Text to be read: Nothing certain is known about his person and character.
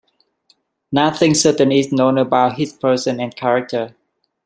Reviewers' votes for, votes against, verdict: 2, 0, accepted